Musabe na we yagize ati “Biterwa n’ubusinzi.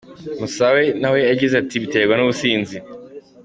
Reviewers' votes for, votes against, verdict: 2, 1, accepted